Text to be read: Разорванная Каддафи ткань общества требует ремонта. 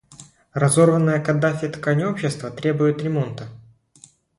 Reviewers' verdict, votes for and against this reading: accepted, 2, 0